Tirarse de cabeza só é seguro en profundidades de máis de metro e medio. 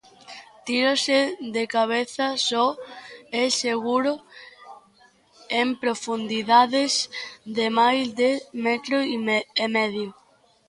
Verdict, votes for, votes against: rejected, 0, 2